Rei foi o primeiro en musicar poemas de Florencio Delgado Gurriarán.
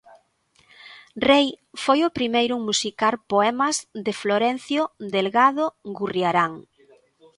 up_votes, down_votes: 2, 0